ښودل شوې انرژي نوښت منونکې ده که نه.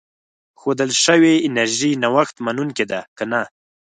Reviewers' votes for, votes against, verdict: 4, 0, accepted